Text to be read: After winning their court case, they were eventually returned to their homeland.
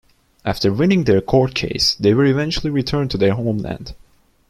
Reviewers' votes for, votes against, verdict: 2, 0, accepted